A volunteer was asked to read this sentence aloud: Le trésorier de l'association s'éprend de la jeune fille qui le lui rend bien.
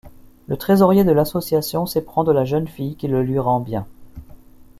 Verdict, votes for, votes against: accepted, 2, 0